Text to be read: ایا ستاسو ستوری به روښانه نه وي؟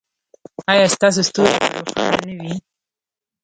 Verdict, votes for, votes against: rejected, 1, 2